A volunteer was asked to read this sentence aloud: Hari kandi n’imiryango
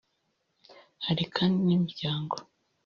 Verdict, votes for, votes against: accepted, 2, 0